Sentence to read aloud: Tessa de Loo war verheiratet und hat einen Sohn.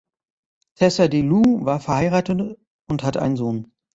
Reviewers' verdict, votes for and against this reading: rejected, 1, 2